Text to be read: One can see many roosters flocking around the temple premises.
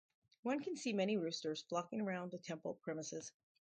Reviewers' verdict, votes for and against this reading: accepted, 4, 0